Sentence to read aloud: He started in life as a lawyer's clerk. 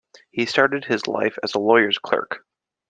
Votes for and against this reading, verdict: 0, 2, rejected